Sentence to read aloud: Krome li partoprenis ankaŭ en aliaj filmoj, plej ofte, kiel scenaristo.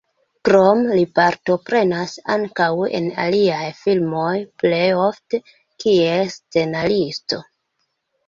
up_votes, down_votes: 0, 2